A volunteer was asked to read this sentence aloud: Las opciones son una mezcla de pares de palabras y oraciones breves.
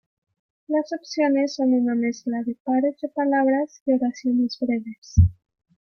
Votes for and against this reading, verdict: 2, 0, accepted